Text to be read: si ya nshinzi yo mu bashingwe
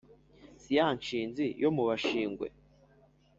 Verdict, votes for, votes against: accepted, 2, 0